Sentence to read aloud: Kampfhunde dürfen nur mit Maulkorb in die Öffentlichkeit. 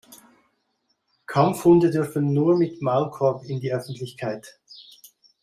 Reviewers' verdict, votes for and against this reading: accepted, 2, 0